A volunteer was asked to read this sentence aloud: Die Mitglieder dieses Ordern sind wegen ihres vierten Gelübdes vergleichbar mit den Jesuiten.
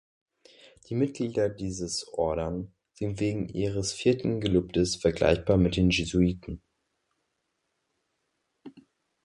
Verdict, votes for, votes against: rejected, 0, 2